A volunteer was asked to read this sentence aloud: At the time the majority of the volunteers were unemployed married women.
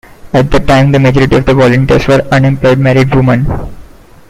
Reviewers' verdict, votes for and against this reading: rejected, 1, 2